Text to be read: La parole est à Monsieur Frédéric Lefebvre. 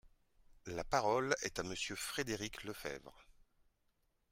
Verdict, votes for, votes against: accepted, 2, 0